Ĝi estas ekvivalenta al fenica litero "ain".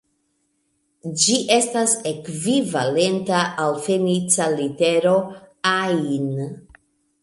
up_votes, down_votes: 2, 0